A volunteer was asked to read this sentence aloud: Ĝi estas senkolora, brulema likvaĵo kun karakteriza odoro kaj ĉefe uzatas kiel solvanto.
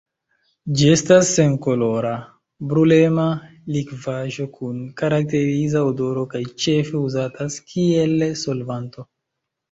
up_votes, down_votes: 0, 2